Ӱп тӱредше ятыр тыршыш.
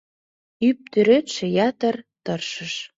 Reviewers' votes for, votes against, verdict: 2, 0, accepted